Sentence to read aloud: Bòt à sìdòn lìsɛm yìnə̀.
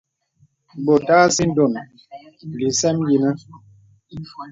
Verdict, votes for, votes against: accepted, 2, 0